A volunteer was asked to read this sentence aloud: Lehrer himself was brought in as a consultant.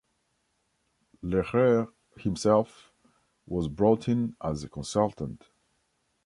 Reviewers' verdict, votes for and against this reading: accepted, 2, 0